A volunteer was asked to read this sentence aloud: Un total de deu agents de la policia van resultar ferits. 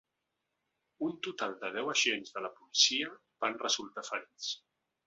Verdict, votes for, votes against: accepted, 2, 0